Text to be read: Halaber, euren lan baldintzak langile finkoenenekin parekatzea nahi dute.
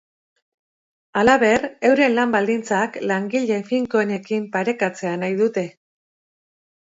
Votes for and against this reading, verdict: 2, 0, accepted